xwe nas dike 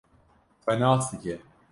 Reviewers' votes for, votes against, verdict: 2, 0, accepted